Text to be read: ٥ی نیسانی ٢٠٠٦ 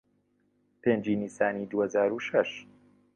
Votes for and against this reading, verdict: 0, 2, rejected